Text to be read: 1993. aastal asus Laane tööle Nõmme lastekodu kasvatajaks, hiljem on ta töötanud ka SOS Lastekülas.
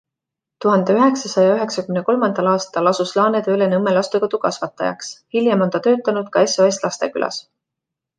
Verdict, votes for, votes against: rejected, 0, 2